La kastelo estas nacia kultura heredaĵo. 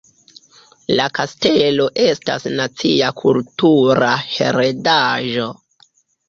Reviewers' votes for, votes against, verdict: 2, 1, accepted